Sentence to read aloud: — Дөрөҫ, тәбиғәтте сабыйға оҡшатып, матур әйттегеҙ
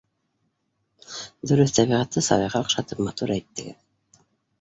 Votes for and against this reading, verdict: 2, 0, accepted